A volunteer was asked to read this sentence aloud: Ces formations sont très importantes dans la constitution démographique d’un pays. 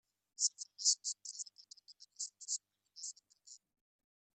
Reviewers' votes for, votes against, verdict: 0, 2, rejected